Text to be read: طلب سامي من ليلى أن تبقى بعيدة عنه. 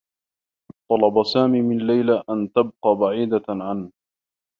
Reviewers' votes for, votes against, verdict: 1, 2, rejected